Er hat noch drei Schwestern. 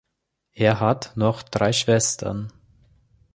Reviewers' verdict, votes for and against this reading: accepted, 3, 0